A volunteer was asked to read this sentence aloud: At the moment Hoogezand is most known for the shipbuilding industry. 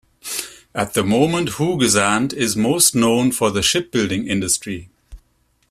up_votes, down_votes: 2, 0